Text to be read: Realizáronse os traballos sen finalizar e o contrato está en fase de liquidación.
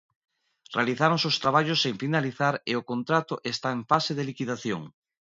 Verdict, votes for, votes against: accepted, 2, 0